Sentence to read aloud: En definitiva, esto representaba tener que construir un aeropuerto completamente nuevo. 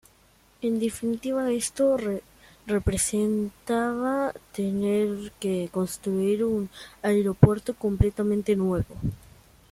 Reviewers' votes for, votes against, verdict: 1, 2, rejected